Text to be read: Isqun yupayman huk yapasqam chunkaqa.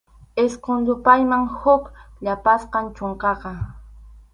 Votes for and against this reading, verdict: 4, 0, accepted